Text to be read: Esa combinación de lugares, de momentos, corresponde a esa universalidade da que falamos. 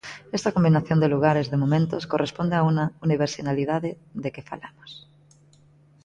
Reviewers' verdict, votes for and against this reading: rejected, 0, 2